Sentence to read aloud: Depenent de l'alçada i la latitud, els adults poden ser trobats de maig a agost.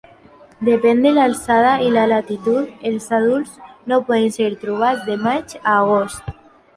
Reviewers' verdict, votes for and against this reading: rejected, 0, 2